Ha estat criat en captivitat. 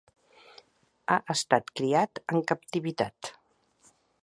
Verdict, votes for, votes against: accepted, 2, 0